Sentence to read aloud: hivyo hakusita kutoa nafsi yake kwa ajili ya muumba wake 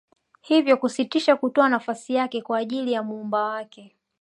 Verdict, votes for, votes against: accepted, 2, 0